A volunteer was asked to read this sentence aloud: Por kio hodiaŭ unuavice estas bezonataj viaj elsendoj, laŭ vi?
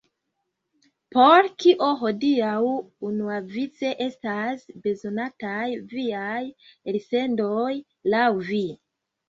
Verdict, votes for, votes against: accepted, 2, 0